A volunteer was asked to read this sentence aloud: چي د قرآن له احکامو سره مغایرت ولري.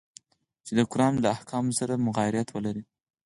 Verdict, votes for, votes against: rejected, 2, 4